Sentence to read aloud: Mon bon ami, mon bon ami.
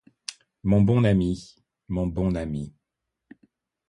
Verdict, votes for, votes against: accepted, 2, 1